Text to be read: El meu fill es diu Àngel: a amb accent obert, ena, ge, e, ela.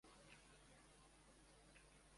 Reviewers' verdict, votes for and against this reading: rejected, 0, 2